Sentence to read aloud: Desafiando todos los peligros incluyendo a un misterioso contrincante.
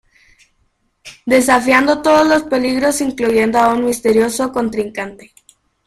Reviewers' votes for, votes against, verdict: 2, 1, accepted